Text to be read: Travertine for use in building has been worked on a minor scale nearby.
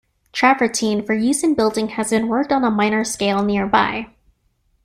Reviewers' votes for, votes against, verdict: 2, 0, accepted